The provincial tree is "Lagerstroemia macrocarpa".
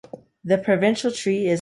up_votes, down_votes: 0, 2